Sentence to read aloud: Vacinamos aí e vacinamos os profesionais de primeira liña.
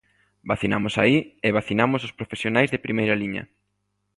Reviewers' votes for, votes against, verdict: 3, 0, accepted